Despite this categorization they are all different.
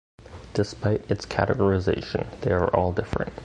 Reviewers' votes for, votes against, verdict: 1, 2, rejected